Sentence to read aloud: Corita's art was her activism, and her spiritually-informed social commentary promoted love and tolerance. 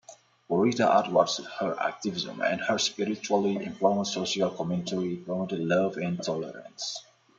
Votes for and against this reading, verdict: 0, 2, rejected